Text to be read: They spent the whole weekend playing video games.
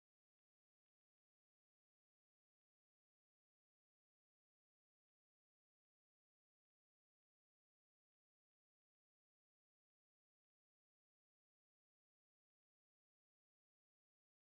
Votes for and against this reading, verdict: 0, 2, rejected